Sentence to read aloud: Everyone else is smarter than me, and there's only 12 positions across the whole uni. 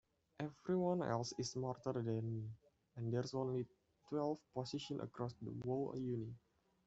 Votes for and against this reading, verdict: 0, 2, rejected